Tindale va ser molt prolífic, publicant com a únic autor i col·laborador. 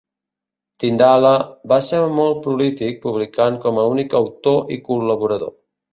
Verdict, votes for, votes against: rejected, 0, 2